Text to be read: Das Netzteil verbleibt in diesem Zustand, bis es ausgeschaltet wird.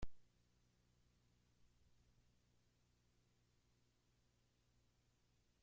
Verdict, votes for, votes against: rejected, 0, 2